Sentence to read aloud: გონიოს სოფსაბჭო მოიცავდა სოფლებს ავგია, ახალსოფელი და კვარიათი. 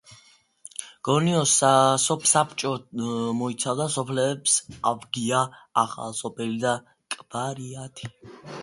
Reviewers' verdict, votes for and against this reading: rejected, 1, 2